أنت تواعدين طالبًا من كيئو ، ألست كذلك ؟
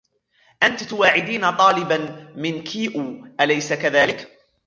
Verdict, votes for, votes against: rejected, 1, 2